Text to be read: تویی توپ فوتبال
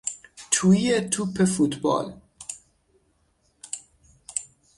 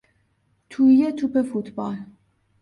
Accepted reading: second